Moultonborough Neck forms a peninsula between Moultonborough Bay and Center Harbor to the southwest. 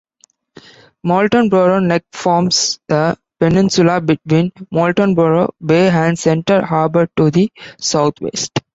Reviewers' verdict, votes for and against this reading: rejected, 1, 2